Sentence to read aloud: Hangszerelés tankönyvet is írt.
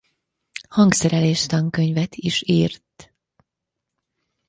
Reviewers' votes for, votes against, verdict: 4, 0, accepted